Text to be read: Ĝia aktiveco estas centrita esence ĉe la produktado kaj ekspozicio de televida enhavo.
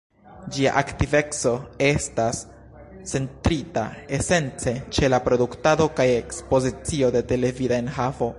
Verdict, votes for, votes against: rejected, 1, 2